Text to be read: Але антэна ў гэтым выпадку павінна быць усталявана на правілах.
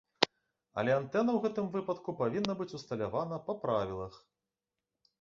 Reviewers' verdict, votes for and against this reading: accepted, 3, 0